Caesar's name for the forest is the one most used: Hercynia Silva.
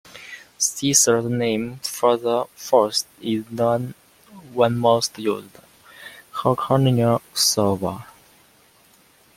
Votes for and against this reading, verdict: 2, 1, accepted